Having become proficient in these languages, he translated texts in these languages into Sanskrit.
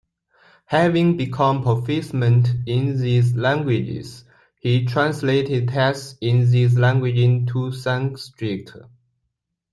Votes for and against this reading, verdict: 2, 1, accepted